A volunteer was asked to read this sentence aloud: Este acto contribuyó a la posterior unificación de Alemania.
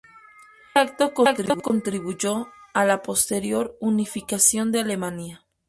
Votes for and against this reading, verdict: 0, 2, rejected